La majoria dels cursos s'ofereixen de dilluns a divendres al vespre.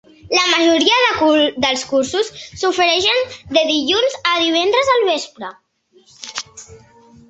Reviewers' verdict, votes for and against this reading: rejected, 1, 2